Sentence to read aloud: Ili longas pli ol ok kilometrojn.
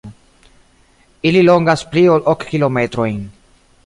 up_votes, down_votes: 2, 0